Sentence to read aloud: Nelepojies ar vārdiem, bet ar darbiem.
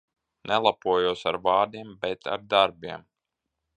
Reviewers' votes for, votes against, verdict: 0, 2, rejected